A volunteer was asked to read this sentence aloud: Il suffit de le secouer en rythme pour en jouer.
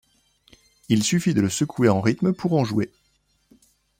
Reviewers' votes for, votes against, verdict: 2, 0, accepted